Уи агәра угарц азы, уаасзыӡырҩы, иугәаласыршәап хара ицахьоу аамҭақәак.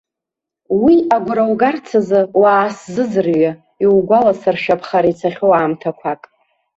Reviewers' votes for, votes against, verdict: 2, 0, accepted